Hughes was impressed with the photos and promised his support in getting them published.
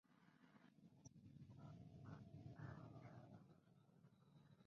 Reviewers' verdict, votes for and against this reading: rejected, 0, 2